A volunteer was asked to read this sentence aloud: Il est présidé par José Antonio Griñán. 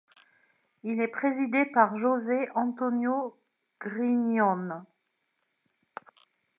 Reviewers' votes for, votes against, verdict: 1, 2, rejected